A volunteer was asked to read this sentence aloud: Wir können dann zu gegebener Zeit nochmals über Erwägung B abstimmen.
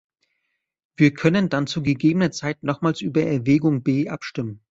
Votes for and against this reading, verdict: 2, 0, accepted